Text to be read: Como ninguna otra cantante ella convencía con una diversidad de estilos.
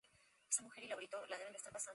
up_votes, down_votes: 0, 2